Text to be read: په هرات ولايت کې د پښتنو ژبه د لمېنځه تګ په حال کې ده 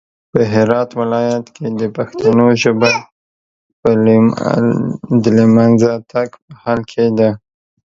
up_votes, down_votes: 0, 2